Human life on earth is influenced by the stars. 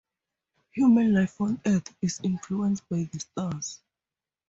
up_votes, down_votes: 4, 0